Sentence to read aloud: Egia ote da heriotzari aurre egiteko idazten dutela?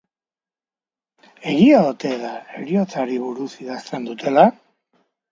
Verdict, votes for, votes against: rejected, 0, 2